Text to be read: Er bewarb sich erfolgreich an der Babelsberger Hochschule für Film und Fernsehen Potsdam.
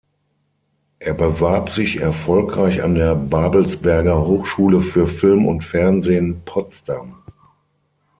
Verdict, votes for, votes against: accepted, 3, 0